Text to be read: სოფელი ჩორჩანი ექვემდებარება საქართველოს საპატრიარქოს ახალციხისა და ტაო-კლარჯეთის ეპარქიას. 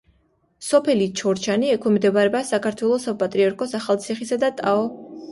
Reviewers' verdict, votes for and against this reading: rejected, 0, 2